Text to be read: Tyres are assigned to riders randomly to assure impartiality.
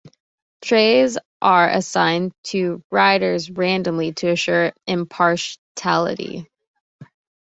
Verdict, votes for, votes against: rejected, 0, 2